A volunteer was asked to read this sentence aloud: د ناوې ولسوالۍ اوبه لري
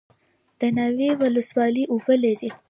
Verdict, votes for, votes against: rejected, 0, 2